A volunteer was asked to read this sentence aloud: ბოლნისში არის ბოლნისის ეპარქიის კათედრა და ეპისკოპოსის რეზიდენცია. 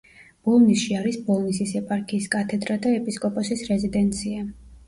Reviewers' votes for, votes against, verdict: 2, 0, accepted